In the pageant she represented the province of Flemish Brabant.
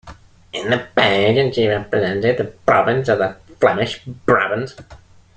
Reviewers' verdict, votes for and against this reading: rejected, 1, 2